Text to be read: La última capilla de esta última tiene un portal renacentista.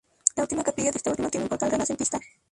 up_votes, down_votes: 0, 2